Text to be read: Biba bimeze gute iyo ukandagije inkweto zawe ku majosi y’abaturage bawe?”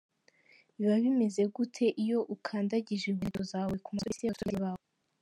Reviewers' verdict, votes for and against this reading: rejected, 1, 2